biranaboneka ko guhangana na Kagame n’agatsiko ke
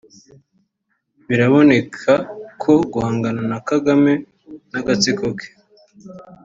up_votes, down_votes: 4, 2